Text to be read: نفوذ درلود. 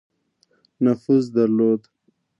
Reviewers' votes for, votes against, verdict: 2, 0, accepted